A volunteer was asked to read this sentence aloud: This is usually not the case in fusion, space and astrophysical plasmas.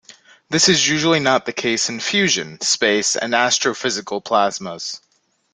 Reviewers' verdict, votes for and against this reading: accepted, 2, 0